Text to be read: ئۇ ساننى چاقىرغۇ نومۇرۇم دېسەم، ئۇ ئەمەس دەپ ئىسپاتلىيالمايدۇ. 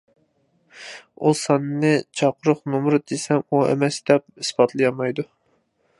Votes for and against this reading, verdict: 0, 2, rejected